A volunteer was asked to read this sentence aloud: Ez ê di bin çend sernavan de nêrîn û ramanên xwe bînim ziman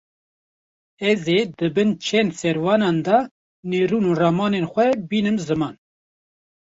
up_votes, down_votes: 0, 2